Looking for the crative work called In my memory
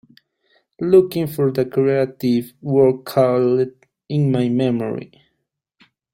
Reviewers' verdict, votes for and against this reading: accepted, 2, 1